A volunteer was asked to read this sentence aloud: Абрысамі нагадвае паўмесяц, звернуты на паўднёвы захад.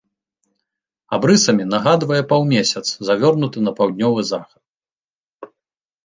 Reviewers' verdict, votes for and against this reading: rejected, 1, 2